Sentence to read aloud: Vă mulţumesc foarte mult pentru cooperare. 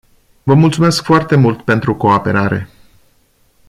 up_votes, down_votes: 1, 2